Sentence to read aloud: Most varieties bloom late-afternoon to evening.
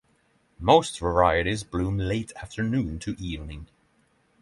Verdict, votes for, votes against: accepted, 6, 0